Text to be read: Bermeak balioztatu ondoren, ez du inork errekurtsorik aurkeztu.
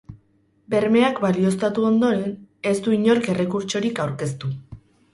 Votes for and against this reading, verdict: 4, 0, accepted